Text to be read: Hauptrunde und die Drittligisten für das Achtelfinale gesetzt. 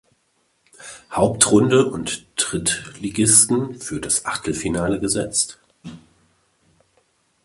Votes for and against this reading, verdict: 0, 2, rejected